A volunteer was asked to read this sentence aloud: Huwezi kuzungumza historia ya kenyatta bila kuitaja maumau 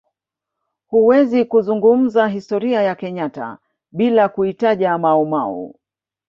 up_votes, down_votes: 1, 2